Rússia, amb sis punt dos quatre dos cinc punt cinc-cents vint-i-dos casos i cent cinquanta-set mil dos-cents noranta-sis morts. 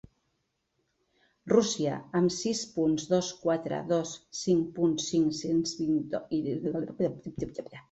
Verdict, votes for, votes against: rejected, 1, 2